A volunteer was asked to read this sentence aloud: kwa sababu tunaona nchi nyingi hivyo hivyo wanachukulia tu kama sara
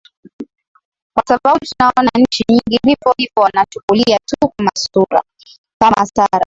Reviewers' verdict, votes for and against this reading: rejected, 0, 2